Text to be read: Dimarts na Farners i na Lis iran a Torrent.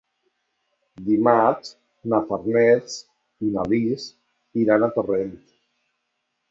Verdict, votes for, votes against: accepted, 3, 0